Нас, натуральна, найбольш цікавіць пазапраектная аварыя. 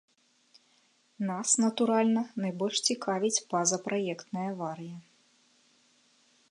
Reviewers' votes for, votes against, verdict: 3, 0, accepted